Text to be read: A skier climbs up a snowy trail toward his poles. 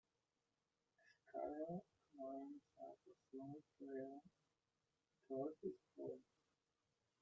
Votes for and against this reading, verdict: 1, 3, rejected